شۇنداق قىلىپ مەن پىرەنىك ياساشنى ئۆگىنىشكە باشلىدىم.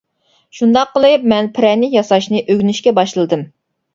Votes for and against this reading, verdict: 2, 0, accepted